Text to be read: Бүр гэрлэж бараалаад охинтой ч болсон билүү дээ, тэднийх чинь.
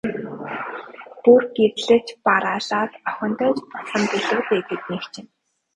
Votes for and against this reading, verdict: 0, 3, rejected